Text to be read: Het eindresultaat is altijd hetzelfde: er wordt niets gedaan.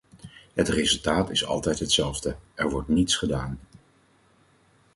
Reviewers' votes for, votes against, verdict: 2, 4, rejected